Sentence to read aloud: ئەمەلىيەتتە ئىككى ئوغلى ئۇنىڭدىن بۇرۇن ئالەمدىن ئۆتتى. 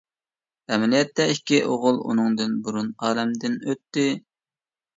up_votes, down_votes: 1, 2